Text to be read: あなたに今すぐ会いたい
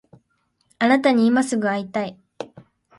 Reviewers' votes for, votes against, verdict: 2, 0, accepted